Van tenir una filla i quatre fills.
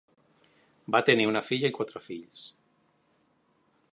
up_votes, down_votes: 2, 3